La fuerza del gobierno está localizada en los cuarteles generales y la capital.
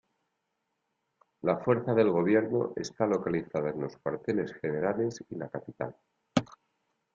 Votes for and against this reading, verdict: 2, 0, accepted